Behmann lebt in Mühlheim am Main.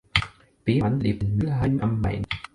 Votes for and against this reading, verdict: 2, 4, rejected